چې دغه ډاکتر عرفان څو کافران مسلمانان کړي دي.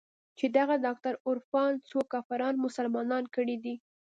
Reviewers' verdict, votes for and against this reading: accepted, 2, 0